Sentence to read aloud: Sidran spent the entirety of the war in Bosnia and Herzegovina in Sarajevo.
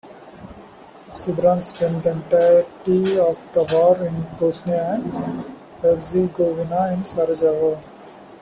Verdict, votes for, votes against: rejected, 0, 2